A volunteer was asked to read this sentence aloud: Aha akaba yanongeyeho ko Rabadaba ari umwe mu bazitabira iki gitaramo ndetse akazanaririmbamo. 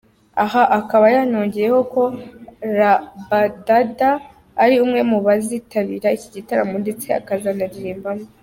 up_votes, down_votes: 2, 0